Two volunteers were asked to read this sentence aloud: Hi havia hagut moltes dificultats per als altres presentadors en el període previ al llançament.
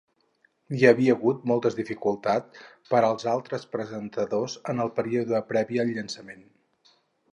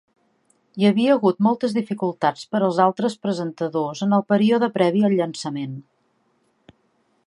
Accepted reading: second